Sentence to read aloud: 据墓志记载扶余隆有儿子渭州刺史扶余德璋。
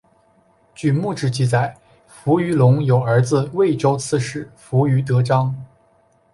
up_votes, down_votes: 4, 1